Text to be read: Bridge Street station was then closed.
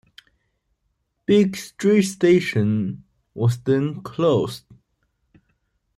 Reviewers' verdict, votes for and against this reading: accepted, 2, 0